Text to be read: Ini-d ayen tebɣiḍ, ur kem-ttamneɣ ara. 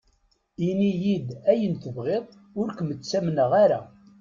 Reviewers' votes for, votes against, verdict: 2, 0, accepted